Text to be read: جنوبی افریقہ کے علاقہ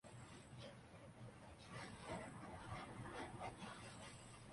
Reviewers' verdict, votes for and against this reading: rejected, 0, 2